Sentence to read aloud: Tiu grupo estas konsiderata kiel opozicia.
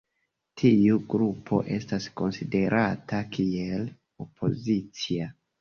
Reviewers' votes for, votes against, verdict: 2, 0, accepted